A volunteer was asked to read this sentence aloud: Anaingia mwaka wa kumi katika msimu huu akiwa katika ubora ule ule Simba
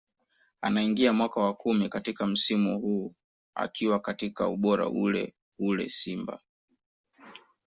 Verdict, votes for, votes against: accepted, 2, 0